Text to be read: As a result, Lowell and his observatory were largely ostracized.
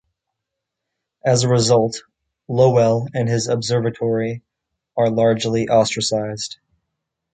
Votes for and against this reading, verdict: 0, 2, rejected